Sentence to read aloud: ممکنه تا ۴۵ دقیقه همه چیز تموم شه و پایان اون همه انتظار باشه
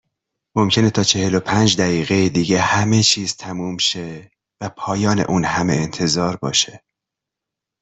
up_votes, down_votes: 0, 2